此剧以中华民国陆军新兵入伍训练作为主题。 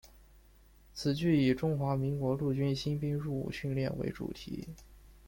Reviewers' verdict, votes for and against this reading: rejected, 1, 2